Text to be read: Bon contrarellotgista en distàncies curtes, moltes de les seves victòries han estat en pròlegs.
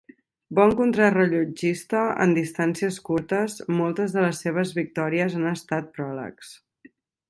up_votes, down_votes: 0, 2